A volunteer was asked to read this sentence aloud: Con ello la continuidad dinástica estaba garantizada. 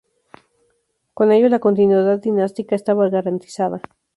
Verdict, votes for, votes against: rejected, 0, 2